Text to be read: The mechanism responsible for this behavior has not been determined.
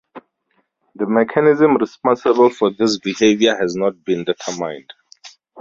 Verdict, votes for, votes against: rejected, 2, 2